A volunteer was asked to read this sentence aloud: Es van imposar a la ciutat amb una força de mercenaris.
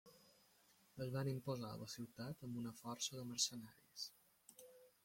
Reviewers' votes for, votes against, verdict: 0, 2, rejected